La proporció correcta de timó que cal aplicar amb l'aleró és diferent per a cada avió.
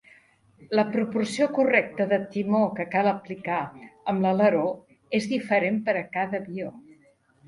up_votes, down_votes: 2, 0